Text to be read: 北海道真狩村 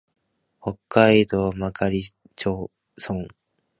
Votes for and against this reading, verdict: 1, 3, rejected